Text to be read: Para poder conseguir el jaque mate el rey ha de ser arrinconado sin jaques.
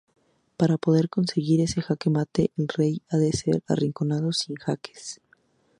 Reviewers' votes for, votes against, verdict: 2, 0, accepted